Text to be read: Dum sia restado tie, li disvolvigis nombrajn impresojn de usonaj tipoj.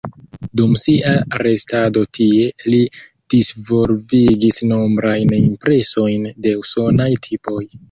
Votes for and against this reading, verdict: 0, 2, rejected